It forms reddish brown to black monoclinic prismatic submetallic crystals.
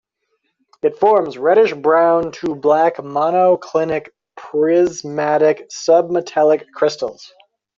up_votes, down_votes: 2, 1